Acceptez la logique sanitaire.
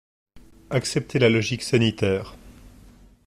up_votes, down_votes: 2, 0